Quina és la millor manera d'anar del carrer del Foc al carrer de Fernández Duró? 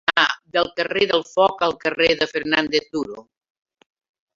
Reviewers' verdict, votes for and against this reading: rejected, 0, 2